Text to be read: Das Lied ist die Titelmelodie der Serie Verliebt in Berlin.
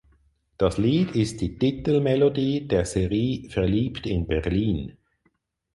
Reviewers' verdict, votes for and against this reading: rejected, 2, 4